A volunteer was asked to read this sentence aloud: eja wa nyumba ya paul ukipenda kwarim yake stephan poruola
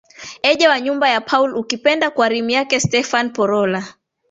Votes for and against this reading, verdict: 0, 2, rejected